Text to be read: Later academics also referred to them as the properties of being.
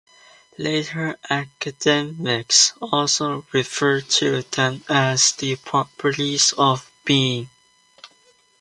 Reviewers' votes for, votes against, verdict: 2, 0, accepted